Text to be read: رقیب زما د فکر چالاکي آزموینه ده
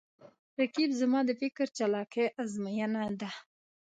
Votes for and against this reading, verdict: 2, 0, accepted